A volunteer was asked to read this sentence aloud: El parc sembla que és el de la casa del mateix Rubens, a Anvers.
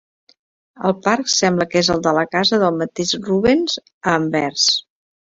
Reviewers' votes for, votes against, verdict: 2, 0, accepted